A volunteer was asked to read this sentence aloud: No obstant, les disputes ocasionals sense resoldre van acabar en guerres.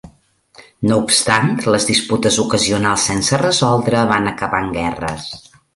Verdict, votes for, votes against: accepted, 4, 0